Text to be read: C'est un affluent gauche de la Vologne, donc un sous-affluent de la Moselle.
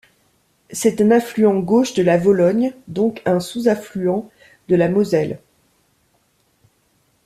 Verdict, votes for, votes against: accepted, 2, 0